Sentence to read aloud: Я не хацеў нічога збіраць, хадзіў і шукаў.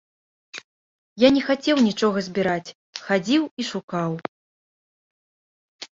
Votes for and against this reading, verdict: 3, 0, accepted